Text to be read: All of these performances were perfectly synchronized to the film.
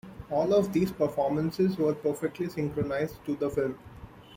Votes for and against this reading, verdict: 2, 0, accepted